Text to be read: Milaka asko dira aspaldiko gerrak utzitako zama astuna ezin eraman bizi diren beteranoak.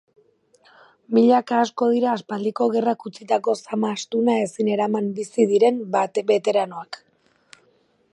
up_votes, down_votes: 2, 2